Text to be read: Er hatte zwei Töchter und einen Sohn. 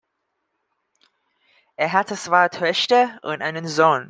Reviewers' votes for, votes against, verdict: 2, 0, accepted